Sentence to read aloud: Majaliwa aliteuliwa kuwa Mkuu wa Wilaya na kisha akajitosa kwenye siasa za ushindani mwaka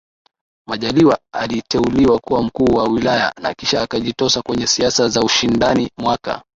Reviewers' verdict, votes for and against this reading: accepted, 2, 0